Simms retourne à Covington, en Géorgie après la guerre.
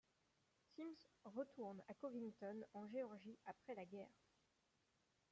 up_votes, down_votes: 0, 2